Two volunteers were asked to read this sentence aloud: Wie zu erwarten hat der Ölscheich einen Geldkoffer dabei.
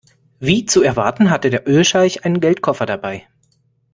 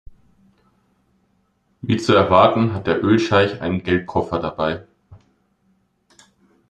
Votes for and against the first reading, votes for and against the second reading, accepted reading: 1, 2, 2, 0, second